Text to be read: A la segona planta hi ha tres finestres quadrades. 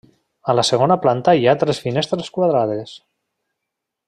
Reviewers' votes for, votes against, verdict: 3, 0, accepted